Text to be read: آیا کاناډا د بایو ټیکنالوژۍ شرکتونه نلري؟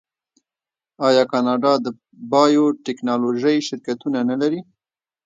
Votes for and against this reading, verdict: 1, 2, rejected